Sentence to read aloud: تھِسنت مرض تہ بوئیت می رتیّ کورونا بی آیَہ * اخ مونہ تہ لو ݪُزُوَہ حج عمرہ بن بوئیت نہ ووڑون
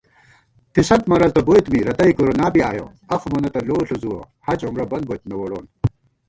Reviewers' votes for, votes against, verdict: 1, 2, rejected